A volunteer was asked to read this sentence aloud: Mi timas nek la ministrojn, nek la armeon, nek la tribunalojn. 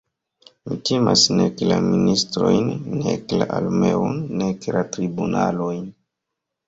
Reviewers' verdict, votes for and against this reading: rejected, 0, 2